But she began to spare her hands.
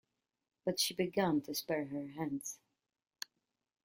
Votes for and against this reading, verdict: 2, 0, accepted